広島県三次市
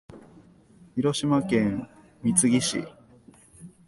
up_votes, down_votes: 0, 2